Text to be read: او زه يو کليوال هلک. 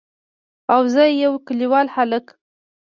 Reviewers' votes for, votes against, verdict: 0, 2, rejected